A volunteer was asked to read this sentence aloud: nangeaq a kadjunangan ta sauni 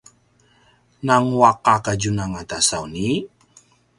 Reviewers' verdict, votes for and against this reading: rejected, 1, 2